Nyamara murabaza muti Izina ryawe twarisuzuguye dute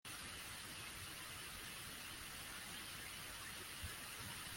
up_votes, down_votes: 0, 2